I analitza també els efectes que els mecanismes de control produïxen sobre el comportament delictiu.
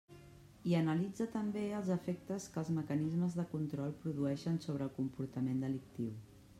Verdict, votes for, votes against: rejected, 1, 2